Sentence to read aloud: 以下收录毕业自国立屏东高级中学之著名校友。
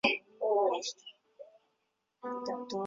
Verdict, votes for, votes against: rejected, 1, 3